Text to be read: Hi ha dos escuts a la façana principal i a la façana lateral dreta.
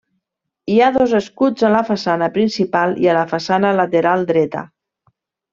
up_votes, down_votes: 3, 1